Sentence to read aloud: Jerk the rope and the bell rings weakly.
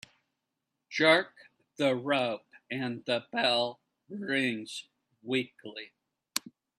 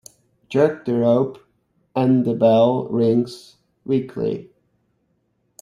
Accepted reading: second